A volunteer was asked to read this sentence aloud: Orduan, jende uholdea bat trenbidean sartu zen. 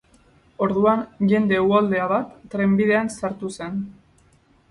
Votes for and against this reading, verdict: 2, 2, rejected